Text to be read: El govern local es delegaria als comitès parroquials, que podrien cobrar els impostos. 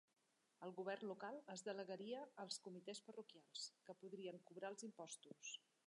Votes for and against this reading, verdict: 3, 1, accepted